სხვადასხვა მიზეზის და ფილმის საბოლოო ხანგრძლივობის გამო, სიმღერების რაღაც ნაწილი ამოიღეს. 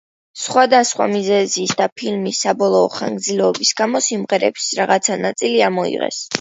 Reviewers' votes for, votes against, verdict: 2, 1, accepted